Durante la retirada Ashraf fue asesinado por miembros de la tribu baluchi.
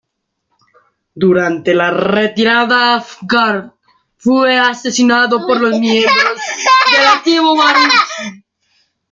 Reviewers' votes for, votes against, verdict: 0, 2, rejected